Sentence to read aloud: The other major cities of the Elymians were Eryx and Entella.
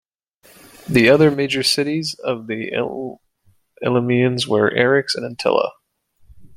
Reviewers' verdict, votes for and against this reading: rejected, 0, 2